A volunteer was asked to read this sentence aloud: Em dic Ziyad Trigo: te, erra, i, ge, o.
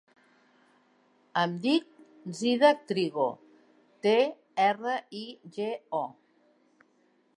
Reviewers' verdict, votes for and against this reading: rejected, 1, 2